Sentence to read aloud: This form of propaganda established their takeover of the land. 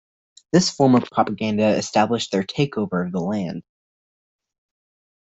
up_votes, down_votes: 2, 0